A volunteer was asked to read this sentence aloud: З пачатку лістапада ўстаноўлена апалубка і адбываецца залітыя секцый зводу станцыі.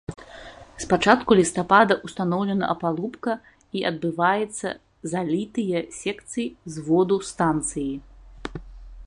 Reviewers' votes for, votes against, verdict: 1, 2, rejected